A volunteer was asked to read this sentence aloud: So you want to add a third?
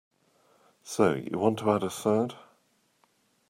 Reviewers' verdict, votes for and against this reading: accepted, 2, 0